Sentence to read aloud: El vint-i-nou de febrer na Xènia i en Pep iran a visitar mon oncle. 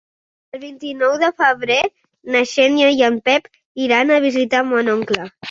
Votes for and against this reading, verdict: 5, 0, accepted